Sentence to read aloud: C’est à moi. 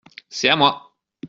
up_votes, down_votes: 2, 0